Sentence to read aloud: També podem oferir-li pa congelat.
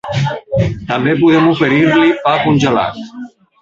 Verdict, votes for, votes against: rejected, 1, 2